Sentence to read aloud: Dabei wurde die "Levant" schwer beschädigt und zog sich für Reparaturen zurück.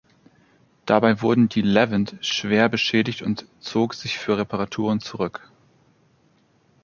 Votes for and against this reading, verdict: 1, 2, rejected